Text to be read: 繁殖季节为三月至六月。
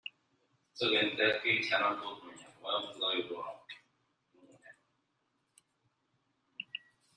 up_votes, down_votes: 0, 2